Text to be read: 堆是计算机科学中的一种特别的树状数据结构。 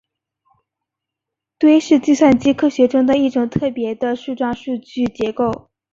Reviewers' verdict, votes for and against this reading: accepted, 5, 0